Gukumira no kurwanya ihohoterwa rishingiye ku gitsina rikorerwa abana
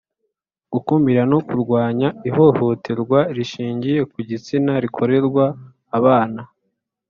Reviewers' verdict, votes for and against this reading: accepted, 4, 0